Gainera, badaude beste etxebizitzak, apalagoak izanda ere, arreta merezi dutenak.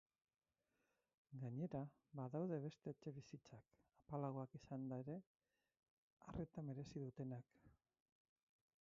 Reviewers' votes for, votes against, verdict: 2, 4, rejected